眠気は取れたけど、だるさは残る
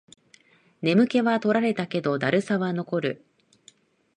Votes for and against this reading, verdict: 2, 3, rejected